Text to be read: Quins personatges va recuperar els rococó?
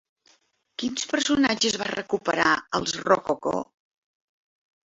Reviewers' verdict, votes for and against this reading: accepted, 2, 1